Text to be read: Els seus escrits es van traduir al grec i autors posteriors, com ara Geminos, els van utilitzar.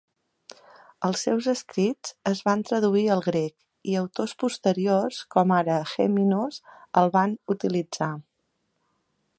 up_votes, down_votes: 1, 3